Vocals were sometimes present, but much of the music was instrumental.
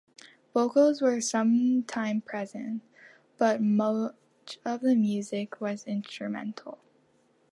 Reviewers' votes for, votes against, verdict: 0, 2, rejected